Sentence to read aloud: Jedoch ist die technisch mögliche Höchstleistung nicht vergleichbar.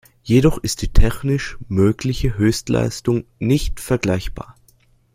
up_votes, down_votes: 1, 2